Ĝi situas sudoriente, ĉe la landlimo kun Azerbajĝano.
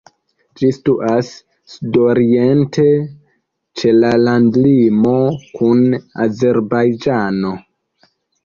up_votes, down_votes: 2, 0